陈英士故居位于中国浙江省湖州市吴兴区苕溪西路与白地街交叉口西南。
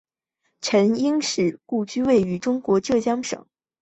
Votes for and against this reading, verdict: 0, 3, rejected